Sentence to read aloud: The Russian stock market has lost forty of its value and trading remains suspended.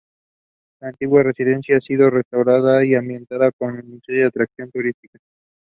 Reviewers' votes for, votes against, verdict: 0, 2, rejected